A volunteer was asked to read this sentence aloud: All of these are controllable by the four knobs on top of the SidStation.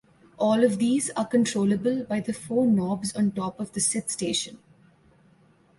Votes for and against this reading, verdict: 2, 0, accepted